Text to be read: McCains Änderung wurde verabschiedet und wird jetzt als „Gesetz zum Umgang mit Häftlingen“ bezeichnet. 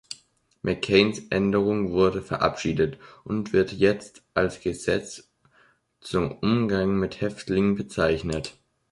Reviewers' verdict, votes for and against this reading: accepted, 2, 0